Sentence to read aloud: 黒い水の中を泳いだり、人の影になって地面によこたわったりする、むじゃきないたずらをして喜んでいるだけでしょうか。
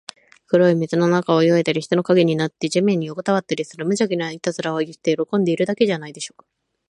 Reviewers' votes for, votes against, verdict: 2, 6, rejected